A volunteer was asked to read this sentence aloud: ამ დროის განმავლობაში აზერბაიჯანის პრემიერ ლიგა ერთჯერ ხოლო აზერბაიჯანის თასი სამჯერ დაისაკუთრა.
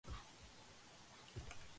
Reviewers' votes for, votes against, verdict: 1, 3, rejected